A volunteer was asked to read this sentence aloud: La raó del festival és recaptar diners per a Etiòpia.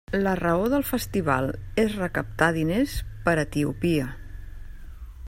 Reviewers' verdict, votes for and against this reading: rejected, 0, 2